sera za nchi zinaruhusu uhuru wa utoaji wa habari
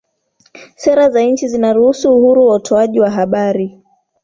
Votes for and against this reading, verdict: 2, 1, accepted